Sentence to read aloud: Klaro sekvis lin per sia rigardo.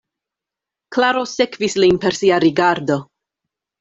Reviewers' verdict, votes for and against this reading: accepted, 2, 0